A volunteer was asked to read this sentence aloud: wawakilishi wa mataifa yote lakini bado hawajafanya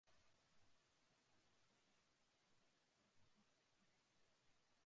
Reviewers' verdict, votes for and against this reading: rejected, 0, 2